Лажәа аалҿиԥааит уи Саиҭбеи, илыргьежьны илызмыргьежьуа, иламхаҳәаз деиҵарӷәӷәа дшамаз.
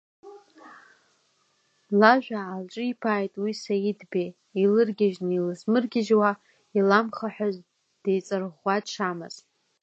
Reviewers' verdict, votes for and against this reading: accepted, 2, 1